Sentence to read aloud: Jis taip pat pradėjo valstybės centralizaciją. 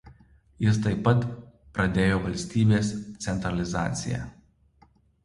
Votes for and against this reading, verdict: 2, 0, accepted